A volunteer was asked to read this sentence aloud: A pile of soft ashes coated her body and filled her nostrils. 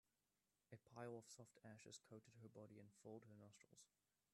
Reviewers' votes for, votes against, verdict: 1, 2, rejected